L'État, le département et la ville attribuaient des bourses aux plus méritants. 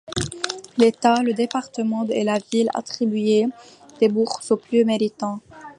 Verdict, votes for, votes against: rejected, 1, 2